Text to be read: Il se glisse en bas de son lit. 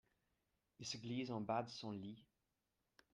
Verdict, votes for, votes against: rejected, 1, 2